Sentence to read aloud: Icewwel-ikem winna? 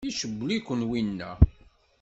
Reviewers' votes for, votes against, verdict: 1, 2, rejected